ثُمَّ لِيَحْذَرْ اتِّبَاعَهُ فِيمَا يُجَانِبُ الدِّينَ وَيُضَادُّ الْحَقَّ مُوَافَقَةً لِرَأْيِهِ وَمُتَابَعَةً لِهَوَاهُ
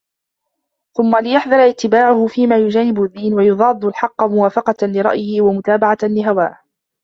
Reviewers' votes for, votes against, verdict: 2, 0, accepted